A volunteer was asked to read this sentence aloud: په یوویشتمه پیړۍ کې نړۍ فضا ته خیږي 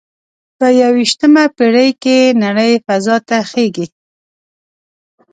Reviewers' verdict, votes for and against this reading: accepted, 2, 0